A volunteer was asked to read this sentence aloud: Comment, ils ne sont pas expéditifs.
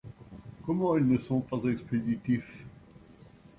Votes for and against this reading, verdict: 2, 0, accepted